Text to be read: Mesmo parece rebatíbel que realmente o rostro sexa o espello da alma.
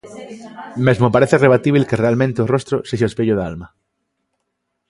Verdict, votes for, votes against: rejected, 1, 2